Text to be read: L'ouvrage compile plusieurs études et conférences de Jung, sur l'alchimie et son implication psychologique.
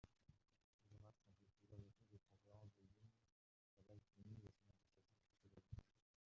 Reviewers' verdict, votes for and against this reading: rejected, 0, 2